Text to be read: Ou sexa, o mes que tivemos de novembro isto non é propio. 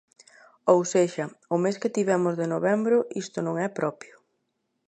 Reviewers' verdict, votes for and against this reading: accepted, 3, 0